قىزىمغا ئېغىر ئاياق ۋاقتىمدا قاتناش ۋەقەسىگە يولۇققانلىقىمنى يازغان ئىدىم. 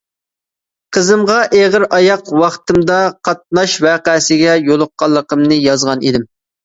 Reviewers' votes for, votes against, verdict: 2, 0, accepted